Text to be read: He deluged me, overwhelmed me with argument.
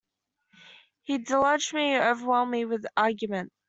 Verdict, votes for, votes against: accepted, 2, 1